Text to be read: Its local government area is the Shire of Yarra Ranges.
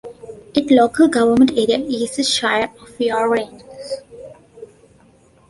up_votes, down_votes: 0, 2